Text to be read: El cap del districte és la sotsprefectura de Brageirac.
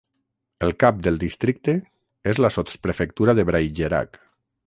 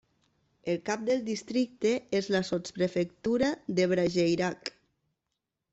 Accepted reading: second